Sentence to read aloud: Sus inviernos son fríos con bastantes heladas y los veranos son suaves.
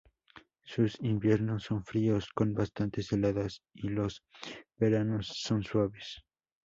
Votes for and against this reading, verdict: 2, 0, accepted